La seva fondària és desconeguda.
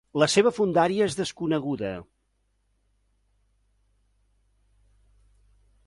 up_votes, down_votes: 3, 0